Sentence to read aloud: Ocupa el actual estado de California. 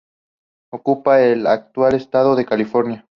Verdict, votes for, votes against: accepted, 2, 0